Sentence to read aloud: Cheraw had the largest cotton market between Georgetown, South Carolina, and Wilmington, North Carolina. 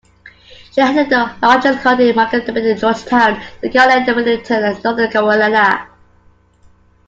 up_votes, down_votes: 0, 2